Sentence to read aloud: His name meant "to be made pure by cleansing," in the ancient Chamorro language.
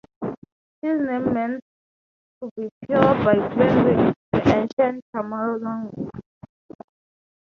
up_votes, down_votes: 0, 3